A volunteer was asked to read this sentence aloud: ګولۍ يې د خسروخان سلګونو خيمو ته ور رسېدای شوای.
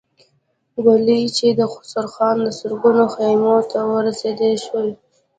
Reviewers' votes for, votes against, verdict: 1, 2, rejected